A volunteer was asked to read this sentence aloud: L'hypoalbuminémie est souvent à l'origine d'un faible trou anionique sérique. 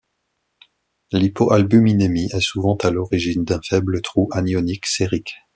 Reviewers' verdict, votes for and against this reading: accepted, 2, 0